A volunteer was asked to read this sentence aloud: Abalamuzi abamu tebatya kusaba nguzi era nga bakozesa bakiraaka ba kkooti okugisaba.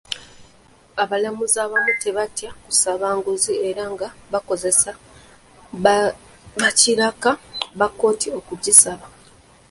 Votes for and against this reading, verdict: 0, 2, rejected